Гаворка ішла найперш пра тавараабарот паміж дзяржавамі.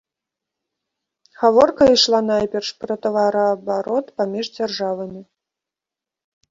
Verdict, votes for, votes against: rejected, 1, 2